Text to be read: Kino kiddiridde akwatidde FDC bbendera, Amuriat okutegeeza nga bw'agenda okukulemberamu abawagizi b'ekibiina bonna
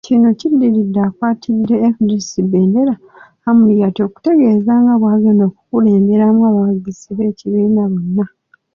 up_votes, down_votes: 2, 0